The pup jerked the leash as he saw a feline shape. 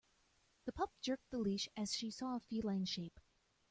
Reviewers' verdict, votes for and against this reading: rejected, 1, 2